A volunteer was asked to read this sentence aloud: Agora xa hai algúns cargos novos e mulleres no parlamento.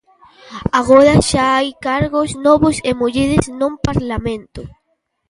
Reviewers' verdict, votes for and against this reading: rejected, 0, 2